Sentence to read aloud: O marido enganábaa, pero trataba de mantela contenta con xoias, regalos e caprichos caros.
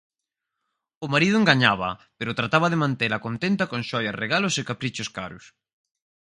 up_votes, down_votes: 2, 4